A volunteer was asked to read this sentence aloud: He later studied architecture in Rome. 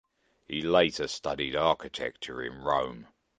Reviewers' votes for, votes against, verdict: 2, 0, accepted